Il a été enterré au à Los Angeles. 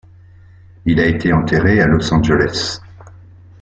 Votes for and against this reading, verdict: 2, 0, accepted